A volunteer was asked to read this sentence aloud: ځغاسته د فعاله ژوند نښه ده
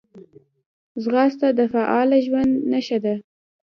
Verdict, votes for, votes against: accepted, 2, 0